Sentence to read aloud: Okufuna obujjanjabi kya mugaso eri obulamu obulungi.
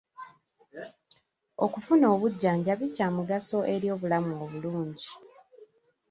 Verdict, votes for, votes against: accepted, 2, 0